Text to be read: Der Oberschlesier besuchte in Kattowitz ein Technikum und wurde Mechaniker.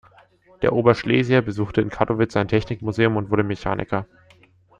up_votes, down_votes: 1, 2